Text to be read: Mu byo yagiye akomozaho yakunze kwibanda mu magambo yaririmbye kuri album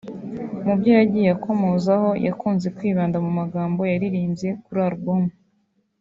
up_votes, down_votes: 3, 0